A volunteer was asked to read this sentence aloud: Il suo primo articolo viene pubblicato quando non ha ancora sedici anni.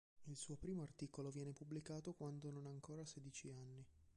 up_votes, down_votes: 1, 2